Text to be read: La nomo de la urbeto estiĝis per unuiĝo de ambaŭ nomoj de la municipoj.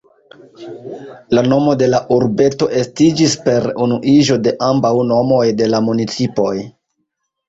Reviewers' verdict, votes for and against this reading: accepted, 2, 0